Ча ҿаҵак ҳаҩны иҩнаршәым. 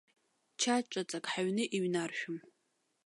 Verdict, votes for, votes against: rejected, 0, 2